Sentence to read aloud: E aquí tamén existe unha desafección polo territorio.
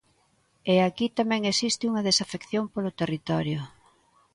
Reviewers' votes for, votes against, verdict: 2, 0, accepted